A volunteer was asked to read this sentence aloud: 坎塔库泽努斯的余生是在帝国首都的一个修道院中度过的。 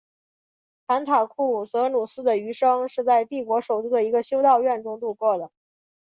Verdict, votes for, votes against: accepted, 4, 1